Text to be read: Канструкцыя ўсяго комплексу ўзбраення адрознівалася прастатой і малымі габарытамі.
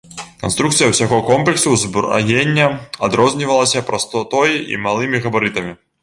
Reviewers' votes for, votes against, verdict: 0, 2, rejected